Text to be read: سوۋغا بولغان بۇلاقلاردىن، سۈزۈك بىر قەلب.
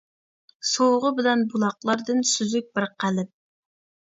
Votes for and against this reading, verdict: 0, 2, rejected